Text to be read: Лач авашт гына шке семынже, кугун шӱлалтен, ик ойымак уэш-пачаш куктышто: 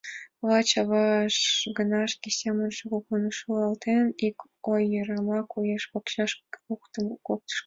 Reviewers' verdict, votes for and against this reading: accepted, 2, 1